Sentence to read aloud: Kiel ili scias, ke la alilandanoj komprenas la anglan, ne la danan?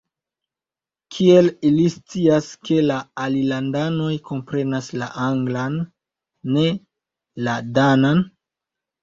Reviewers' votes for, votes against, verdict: 0, 2, rejected